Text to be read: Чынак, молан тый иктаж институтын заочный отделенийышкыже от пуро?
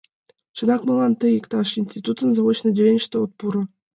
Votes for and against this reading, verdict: 0, 2, rejected